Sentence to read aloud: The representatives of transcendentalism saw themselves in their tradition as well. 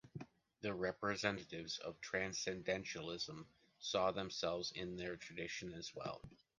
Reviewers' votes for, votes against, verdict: 2, 0, accepted